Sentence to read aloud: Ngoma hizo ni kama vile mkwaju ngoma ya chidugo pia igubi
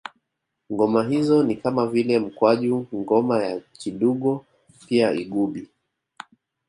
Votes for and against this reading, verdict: 1, 2, rejected